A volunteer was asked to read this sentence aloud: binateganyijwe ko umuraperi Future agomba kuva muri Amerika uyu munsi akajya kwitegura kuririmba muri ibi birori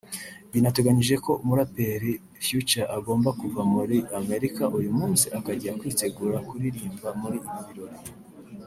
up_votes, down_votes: 0, 2